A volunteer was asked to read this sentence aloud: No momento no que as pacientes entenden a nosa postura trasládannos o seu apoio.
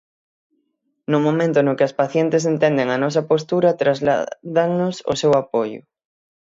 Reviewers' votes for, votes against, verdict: 3, 6, rejected